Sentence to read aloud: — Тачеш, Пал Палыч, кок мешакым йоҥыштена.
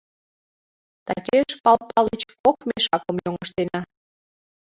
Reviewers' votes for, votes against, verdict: 1, 2, rejected